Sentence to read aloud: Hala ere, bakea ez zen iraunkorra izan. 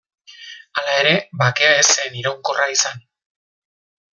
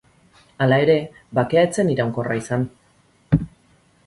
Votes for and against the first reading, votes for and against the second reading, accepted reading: 1, 2, 2, 0, second